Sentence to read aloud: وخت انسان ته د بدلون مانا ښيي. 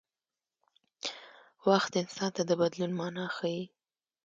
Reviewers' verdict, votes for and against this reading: accepted, 2, 0